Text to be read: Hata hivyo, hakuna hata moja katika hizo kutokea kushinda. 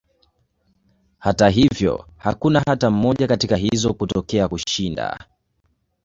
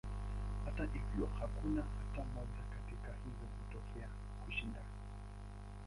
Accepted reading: first